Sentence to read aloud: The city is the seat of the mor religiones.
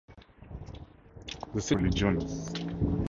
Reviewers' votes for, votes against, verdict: 0, 4, rejected